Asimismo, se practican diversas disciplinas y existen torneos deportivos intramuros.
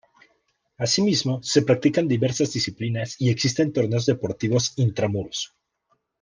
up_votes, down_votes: 2, 0